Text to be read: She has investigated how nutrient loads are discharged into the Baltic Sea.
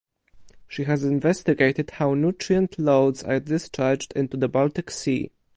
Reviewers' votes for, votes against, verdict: 2, 4, rejected